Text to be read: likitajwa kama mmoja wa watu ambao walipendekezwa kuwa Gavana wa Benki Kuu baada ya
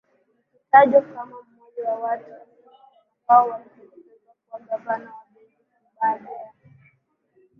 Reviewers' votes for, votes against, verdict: 5, 13, rejected